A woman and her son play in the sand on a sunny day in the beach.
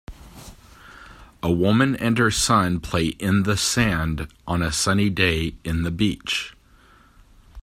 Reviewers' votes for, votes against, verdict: 2, 0, accepted